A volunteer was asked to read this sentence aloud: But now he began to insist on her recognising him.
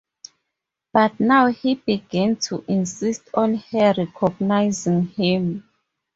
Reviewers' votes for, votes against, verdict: 2, 2, rejected